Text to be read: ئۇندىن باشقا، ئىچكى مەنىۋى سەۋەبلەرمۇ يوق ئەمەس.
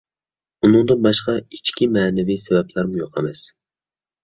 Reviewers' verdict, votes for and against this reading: accepted, 2, 0